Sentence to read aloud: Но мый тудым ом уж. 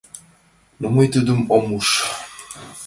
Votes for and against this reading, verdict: 3, 0, accepted